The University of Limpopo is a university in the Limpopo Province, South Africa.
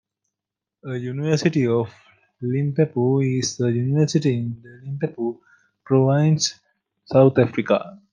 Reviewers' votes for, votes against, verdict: 2, 0, accepted